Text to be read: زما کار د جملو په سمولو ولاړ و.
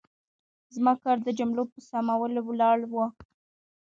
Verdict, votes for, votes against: rejected, 0, 2